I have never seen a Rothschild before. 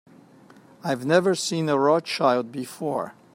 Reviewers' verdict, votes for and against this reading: rejected, 1, 2